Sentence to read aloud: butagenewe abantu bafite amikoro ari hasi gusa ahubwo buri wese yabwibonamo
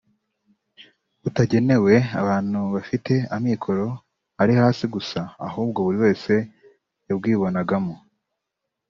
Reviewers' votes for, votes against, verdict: 2, 0, accepted